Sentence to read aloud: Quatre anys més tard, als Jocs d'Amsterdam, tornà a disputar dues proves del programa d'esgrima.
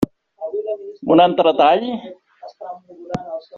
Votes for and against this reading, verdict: 0, 2, rejected